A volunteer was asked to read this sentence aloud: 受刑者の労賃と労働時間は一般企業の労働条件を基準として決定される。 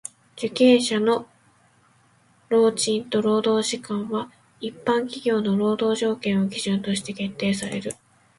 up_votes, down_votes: 2, 0